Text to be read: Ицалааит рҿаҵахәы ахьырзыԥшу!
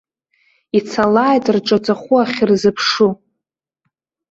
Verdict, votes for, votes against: accepted, 2, 1